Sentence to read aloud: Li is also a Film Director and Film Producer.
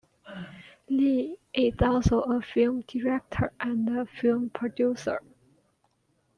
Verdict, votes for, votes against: rejected, 0, 2